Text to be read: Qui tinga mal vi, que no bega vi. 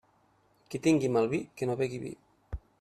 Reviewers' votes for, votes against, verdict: 1, 2, rejected